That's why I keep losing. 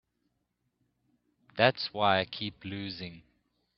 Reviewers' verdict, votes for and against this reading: accepted, 2, 0